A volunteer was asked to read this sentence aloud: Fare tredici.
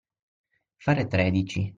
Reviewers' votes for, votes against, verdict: 6, 3, accepted